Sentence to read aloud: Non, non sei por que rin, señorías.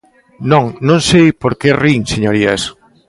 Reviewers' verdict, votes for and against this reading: accepted, 2, 0